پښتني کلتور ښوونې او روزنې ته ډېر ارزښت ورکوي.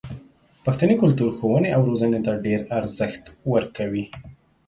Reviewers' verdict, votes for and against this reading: accepted, 2, 0